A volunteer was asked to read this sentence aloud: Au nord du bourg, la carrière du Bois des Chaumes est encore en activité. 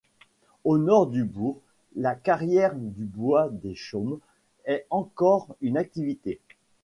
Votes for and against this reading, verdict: 0, 2, rejected